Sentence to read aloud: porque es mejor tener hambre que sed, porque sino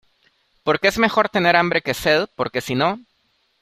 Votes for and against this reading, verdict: 2, 0, accepted